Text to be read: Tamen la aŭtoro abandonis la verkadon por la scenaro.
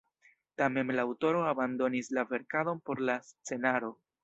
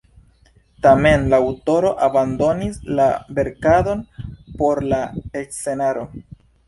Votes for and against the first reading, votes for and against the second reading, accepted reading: 3, 0, 0, 2, first